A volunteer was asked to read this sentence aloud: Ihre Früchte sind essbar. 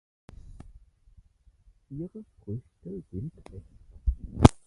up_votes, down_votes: 0, 4